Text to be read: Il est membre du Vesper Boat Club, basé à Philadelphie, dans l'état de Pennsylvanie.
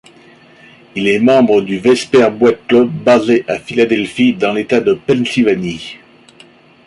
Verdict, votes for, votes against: rejected, 1, 2